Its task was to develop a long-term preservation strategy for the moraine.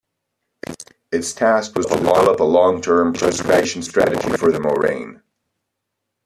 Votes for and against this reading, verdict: 0, 2, rejected